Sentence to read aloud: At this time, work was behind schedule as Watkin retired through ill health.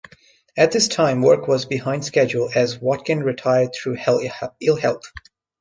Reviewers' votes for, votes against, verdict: 0, 2, rejected